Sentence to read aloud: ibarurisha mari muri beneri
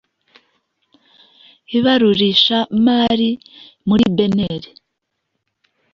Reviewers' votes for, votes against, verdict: 2, 0, accepted